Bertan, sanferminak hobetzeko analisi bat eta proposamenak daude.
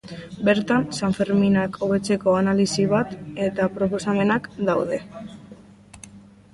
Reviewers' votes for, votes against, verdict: 0, 2, rejected